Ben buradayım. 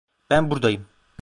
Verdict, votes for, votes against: rejected, 0, 2